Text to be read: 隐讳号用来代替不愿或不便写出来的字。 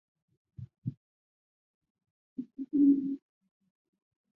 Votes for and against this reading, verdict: 0, 3, rejected